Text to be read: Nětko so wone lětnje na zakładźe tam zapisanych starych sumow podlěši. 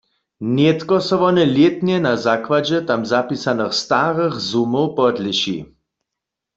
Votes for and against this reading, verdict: 2, 0, accepted